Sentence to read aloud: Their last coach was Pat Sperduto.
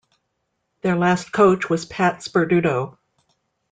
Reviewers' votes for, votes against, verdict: 3, 0, accepted